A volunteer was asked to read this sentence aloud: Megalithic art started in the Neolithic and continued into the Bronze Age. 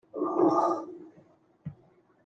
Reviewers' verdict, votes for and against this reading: rejected, 0, 2